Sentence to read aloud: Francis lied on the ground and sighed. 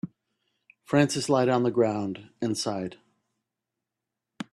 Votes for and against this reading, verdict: 2, 0, accepted